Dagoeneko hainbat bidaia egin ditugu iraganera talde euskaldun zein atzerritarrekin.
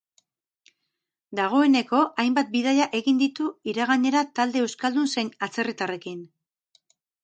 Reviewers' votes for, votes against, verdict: 2, 2, rejected